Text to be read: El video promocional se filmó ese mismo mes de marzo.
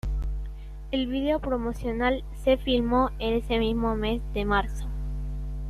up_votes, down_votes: 2, 0